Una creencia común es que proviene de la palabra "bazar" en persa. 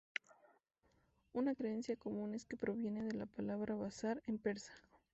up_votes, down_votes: 2, 0